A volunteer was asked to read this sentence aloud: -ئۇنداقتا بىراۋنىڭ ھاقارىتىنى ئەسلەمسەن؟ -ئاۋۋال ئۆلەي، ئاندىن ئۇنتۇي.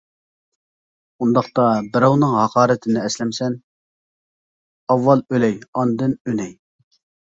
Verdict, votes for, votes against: rejected, 0, 2